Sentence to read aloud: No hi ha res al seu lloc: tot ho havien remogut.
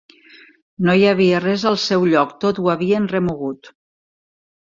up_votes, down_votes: 0, 2